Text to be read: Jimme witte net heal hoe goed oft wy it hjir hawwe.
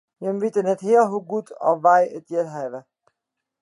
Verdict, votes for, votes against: rejected, 1, 2